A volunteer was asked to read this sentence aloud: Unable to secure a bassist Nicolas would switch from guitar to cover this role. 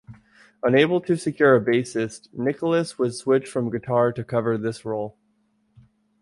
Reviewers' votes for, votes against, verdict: 2, 0, accepted